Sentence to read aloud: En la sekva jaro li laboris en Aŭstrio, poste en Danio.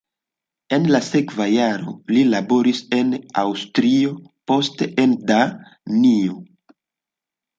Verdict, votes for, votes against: accepted, 2, 0